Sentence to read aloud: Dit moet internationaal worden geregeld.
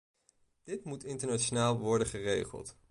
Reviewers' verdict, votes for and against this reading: rejected, 1, 2